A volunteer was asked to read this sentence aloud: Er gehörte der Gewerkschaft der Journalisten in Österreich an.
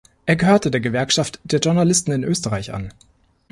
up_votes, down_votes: 2, 0